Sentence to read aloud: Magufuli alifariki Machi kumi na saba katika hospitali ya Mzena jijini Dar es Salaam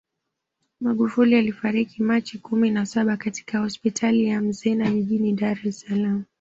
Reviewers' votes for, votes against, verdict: 2, 0, accepted